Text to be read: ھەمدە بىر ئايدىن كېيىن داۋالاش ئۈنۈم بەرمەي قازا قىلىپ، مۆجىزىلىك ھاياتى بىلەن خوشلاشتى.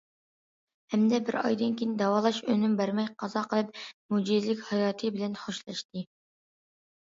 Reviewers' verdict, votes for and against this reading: accepted, 2, 0